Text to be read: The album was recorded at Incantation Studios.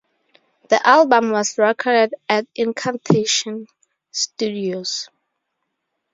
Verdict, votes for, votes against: rejected, 0, 2